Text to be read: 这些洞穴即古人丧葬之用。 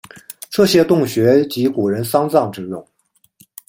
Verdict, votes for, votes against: accepted, 2, 0